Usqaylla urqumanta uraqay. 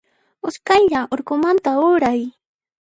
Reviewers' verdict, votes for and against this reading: rejected, 1, 2